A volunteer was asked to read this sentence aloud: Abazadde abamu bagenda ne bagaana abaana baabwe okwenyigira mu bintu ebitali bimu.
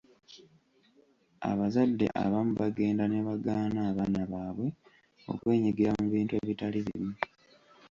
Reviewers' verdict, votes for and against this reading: accepted, 2, 1